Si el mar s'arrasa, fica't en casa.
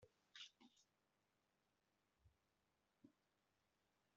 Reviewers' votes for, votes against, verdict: 0, 2, rejected